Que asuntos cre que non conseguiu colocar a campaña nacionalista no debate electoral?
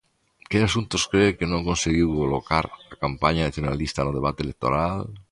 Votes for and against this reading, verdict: 0, 2, rejected